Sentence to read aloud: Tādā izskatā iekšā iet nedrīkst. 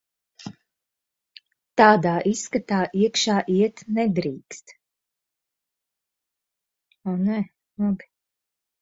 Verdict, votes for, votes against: rejected, 0, 4